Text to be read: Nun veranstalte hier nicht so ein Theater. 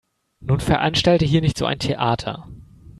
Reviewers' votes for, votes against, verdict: 2, 0, accepted